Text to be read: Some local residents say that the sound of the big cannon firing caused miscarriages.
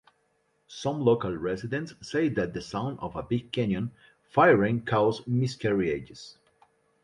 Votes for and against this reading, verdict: 1, 2, rejected